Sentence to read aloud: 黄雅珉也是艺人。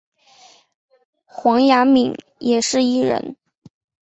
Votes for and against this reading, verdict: 2, 1, accepted